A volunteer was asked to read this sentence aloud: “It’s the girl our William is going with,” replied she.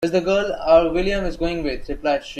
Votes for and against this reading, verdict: 1, 2, rejected